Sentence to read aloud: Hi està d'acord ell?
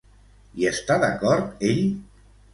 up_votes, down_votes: 2, 0